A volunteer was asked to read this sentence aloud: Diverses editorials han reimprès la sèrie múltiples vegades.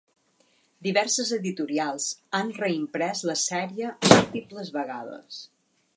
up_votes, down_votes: 1, 2